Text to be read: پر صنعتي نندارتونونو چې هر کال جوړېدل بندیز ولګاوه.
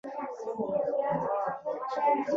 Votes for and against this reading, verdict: 0, 2, rejected